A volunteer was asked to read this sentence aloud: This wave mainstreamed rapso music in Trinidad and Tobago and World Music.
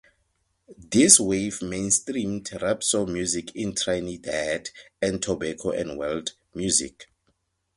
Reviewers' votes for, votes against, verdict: 2, 2, rejected